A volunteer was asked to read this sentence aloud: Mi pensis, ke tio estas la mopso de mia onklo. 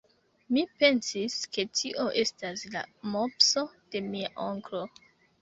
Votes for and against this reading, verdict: 2, 1, accepted